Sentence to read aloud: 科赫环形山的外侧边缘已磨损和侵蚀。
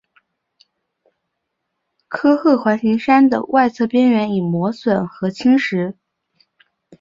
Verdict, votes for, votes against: accepted, 2, 0